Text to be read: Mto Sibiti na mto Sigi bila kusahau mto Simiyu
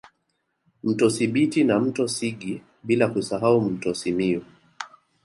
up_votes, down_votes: 1, 2